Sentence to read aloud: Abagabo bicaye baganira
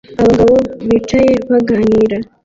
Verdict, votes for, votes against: rejected, 1, 2